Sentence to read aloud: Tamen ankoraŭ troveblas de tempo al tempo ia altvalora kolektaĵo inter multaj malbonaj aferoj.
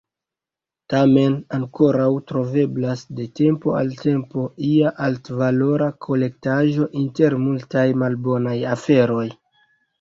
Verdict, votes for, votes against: accepted, 2, 0